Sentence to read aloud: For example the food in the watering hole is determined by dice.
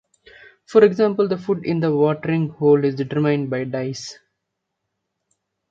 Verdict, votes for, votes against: accepted, 2, 0